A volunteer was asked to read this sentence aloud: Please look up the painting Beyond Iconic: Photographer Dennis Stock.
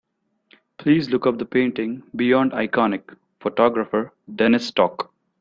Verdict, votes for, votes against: accepted, 2, 0